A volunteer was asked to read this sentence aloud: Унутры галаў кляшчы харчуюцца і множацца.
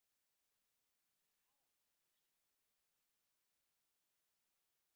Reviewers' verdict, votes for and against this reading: rejected, 0, 3